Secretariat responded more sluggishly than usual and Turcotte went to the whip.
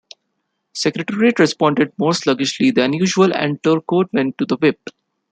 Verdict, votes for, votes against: rejected, 1, 2